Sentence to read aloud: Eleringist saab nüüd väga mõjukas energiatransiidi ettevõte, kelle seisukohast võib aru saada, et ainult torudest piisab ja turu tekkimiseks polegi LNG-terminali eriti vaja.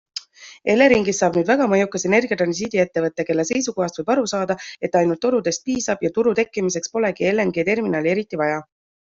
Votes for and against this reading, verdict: 2, 1, accepted